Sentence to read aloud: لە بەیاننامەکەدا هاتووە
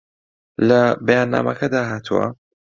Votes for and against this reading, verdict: 2, 0, accepted